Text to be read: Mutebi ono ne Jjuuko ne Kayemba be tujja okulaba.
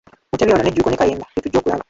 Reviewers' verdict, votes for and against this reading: rejected, 0, 2